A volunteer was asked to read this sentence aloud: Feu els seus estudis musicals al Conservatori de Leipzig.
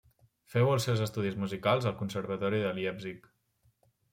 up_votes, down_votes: 0, 2